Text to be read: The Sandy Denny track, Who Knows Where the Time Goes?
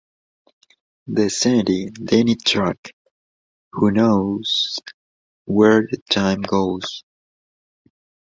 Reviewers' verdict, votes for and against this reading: accepted, 2, 0